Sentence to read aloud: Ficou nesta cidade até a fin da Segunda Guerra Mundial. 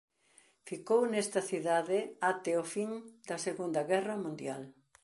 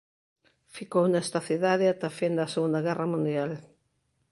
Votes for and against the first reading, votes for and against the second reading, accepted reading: 0, 2, 2, 1, second